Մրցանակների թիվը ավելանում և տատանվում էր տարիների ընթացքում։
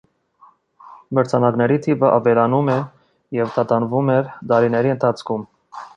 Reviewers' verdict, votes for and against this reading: rejected, 1, 2